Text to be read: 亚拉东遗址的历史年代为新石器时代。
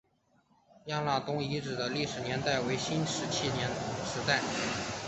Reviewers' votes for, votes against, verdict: 4, 2, accepted